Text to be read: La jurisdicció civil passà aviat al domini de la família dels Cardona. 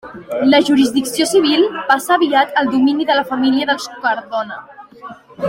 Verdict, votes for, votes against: accepted, 2, 1